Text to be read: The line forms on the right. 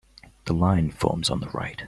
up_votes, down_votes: 2, 0